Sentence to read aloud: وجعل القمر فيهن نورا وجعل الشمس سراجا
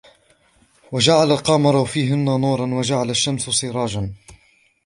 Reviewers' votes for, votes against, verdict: 2, 1, accepted